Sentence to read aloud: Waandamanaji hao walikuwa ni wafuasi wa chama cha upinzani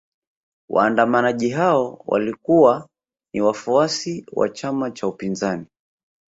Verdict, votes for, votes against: accepted, 2, 0